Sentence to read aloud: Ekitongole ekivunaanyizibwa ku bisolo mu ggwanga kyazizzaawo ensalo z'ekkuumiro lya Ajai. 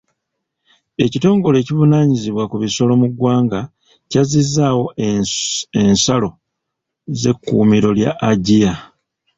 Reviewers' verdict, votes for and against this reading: rejected, 1, 2